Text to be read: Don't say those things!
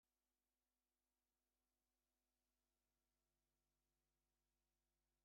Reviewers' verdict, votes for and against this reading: rejected, 0, 2